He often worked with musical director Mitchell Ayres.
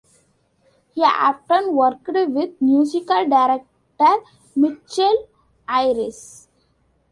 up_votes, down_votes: 2, 1